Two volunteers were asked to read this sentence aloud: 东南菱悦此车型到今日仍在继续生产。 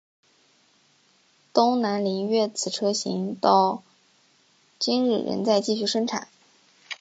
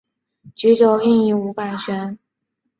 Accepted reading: first